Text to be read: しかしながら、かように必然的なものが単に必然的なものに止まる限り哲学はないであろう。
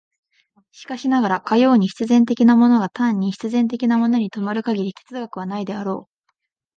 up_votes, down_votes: 13, 0